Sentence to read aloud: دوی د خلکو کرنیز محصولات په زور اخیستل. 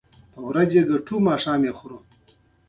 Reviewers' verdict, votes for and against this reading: rejected, 1, 2